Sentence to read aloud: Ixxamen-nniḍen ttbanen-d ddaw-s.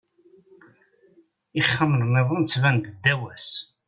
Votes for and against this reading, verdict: 2, 0, accepted